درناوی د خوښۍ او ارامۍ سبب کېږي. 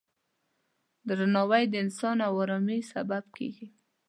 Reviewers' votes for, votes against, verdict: 1, 2, rejected